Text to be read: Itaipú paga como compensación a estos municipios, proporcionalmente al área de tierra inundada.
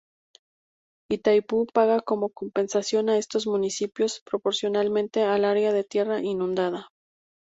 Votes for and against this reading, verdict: 2, 0, accepted